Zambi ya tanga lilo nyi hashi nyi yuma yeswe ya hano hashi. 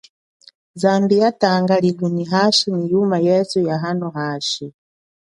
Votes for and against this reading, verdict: 2, 0, accepted